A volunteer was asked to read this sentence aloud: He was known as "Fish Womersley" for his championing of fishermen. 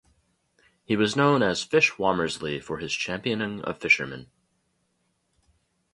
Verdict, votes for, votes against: accepted, 2, 0